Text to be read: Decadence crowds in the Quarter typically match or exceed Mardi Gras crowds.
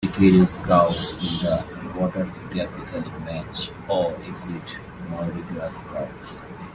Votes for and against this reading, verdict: 0, 2, rejected